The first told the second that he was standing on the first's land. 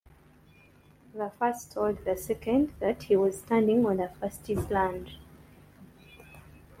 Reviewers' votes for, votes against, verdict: 2, 1, accepted